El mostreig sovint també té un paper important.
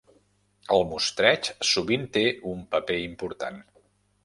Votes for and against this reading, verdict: 0, 2, rejected